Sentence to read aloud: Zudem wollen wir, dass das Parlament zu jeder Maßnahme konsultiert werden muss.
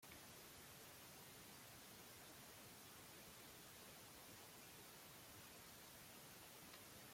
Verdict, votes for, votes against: rejected, 0, 2